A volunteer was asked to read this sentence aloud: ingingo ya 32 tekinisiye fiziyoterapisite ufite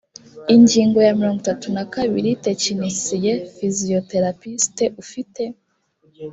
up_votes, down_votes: 0, 2